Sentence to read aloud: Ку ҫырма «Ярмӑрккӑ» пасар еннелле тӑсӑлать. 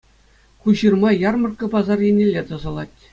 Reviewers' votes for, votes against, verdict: 2, 0, accepted